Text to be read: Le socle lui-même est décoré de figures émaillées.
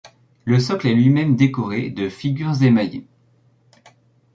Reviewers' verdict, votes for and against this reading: rejected, 1, 2